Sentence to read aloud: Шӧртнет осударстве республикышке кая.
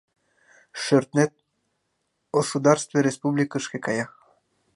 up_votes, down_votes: 2, 0